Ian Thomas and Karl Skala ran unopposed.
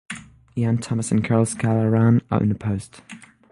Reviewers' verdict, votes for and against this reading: accepted, 6, 0